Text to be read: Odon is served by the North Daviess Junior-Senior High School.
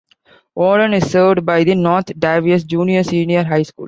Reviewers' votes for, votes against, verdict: 2, 0, accepted